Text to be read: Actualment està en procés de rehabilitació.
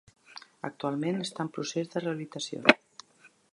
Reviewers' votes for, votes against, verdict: 1, 2, rejected